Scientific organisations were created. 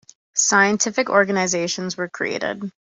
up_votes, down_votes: 2, 0